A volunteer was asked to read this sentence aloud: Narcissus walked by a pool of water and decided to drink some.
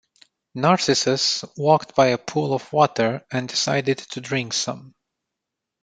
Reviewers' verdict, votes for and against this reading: accepted, 2, 0